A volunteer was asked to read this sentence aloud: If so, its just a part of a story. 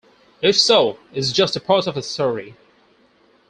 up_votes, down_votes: 4, 2